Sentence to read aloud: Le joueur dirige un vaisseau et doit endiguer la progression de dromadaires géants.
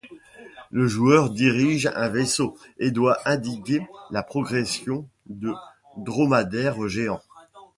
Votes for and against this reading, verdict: 0, 2, rejected